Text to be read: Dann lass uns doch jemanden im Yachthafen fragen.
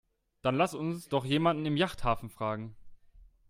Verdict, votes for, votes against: accepted, 2, 0